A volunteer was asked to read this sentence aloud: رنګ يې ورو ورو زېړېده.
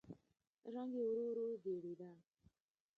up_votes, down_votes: 0, 2